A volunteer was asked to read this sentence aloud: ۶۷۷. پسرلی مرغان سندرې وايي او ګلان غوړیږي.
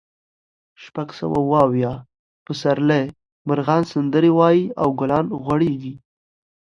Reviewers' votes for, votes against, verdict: 0, 2, rejected